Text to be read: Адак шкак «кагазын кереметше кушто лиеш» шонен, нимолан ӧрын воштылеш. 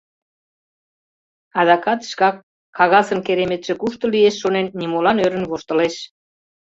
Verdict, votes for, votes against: rejected, 1, 2